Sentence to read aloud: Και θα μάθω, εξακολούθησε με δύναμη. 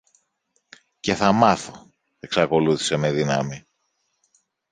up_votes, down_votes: 2, 1